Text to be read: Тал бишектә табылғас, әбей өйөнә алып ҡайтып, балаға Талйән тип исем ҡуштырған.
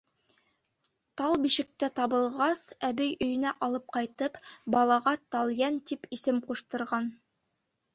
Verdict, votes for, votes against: accepted, 2, 0